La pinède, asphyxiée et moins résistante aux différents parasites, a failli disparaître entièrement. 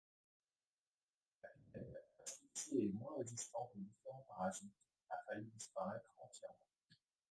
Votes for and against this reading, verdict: 0, 2, rejected